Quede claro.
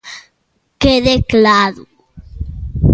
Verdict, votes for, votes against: rejected, 1, 2